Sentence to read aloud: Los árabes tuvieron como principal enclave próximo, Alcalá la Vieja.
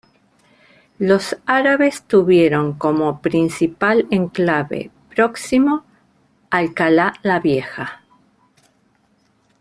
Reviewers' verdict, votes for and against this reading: accepted, 2, 0